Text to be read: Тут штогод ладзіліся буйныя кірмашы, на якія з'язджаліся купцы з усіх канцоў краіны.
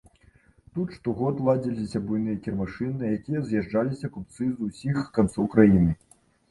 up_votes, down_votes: 2, 0